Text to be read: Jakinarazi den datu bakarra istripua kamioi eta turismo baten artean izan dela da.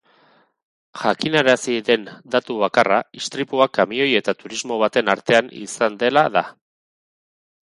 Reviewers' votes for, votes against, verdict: 4, 0, accepted